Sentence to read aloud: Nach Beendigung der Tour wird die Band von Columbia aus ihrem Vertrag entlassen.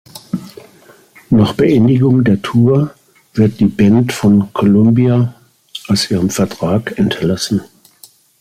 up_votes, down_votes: 2, 0